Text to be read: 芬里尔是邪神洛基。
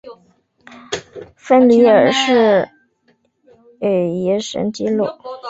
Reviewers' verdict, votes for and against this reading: rejected, 0, 4